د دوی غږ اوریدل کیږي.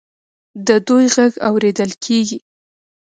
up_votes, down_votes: 0, 2